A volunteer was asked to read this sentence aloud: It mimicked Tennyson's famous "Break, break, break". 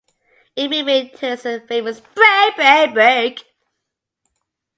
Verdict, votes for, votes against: rejected, 0, 2